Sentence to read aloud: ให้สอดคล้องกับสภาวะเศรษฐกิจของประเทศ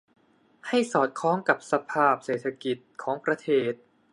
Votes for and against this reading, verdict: 1, 2, rejected